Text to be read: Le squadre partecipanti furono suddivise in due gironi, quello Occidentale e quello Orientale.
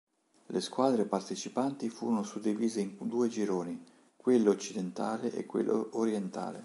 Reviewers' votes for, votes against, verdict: 2, 0, accepted